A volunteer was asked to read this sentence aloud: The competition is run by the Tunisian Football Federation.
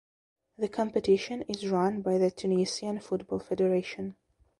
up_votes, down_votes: 2, 0